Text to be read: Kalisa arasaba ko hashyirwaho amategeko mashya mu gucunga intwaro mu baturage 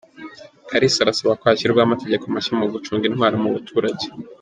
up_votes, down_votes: 2, 0